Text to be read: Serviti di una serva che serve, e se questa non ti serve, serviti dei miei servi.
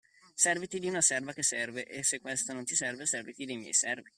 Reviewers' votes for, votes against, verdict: 2, 1, accepted